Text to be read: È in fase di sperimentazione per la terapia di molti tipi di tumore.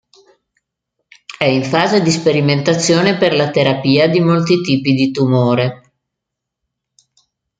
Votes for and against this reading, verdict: 2, 0, accepted